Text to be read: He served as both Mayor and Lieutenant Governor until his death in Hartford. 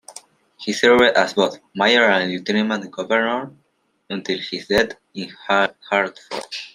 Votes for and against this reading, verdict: 0, 2, rejected